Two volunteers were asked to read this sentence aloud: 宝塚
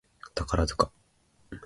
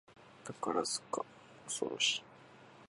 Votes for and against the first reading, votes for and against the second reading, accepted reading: 3, 0, 6, 7, first